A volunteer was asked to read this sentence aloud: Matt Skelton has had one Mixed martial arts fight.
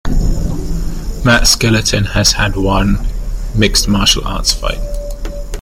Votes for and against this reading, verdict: 0, 2, rejected